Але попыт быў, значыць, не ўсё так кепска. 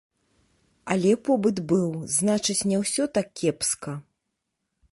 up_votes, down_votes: 1, 2